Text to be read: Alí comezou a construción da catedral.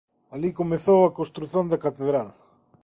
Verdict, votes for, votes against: rejected, 1, 2